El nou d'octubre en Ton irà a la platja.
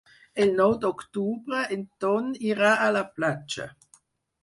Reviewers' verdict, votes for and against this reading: accepted, 4, 0